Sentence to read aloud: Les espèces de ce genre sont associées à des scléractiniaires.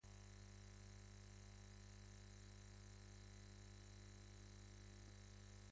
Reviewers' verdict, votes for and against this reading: rejected, 1, 2